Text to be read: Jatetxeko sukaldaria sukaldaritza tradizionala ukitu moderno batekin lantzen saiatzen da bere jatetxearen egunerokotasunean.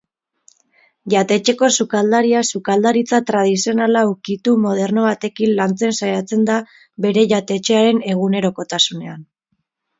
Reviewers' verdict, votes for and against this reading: accepted, 6, 0